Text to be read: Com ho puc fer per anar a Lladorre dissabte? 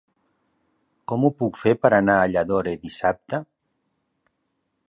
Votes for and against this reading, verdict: 1, 3, rejected